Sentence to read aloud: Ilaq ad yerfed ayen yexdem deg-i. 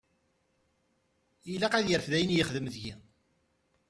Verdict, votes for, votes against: accepted, 2, 1